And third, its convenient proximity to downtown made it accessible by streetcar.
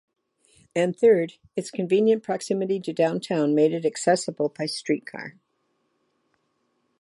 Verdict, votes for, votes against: accepted, 2, 0